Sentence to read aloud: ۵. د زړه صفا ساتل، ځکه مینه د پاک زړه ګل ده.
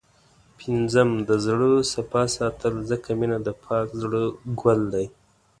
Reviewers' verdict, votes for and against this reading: rejected, 0, 2